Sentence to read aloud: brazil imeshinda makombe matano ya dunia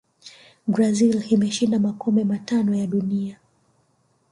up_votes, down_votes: 1, 2